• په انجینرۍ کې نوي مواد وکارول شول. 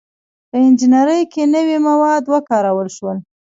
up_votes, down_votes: 2, 0